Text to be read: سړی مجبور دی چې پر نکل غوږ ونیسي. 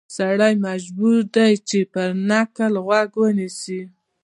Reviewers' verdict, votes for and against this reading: accepted, 2, 0